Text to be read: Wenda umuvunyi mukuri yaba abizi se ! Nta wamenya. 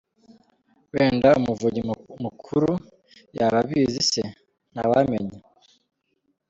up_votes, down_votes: 1, 2